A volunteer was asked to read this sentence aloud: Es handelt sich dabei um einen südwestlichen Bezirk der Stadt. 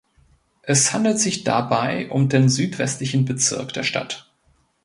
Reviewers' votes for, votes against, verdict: 0, 2, rejected